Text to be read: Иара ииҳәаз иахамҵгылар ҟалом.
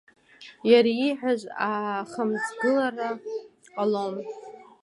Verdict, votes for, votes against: accepted, 2, 1